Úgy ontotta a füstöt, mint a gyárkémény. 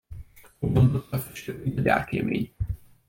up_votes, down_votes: 1, 2